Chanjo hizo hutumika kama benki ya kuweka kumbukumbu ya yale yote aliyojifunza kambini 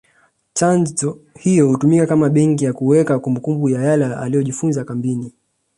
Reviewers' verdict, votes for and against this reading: accepted, 2, 0